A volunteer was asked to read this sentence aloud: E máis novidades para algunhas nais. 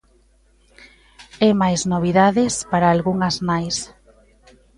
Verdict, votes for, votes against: rejected, 1, 2